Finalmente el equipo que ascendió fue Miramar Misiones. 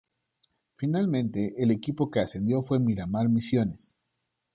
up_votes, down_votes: 2, 1